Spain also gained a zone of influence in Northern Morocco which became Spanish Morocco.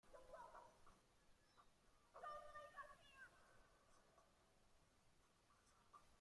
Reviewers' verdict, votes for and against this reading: rejected, 0, 2